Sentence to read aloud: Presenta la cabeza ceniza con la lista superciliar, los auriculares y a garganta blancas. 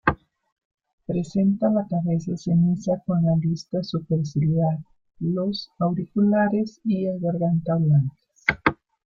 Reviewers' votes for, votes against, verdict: 2, 1, accepted